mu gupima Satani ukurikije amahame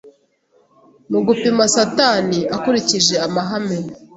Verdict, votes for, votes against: rejected, 1, 2